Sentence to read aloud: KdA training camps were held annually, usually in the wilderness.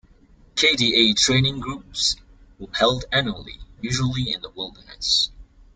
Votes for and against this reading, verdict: 0, 2, rejected